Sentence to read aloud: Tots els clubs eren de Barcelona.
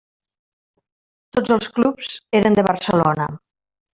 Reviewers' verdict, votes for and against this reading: rejected, 1, 2